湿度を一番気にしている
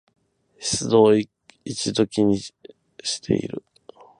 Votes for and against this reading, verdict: 0, 12, rejected